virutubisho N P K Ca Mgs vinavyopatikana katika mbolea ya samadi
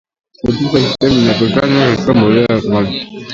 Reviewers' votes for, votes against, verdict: 0, 2, rejected